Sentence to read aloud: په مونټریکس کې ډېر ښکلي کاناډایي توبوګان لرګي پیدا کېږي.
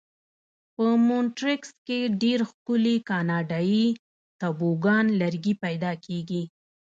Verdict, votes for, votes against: rejected, 1, 2